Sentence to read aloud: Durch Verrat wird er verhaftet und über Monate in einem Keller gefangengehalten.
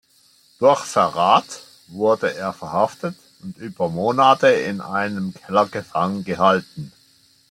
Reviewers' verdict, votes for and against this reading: rejected, 0, 2